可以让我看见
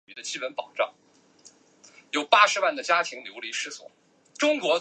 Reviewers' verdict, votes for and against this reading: rejected, 0, 2